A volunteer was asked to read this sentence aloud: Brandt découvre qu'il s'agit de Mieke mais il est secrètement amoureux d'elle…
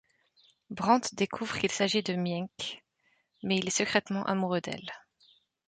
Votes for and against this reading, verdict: 0, 2, rejected